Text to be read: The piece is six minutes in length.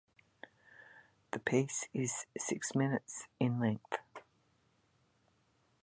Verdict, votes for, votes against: rejected, 1, 2